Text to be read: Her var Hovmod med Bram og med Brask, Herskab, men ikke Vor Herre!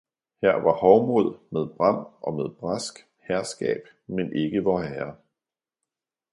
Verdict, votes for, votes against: accepted, 2, 0